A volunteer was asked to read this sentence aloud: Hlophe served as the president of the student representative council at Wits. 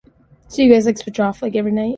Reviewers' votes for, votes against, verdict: 0, 2, rejected